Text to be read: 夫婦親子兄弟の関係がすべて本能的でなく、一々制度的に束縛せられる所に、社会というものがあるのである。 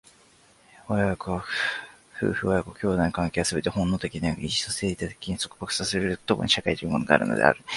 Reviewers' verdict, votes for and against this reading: rejected, 0, 2